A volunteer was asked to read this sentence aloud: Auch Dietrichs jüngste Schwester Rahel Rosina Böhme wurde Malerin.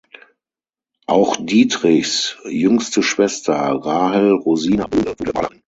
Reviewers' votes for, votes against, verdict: 0, 6, rejected